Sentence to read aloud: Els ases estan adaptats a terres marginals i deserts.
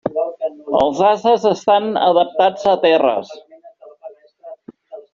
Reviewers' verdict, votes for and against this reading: rejected, 0, 2